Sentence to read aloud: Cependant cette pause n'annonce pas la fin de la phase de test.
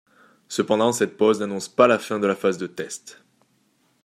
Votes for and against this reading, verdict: 2, 0, accepted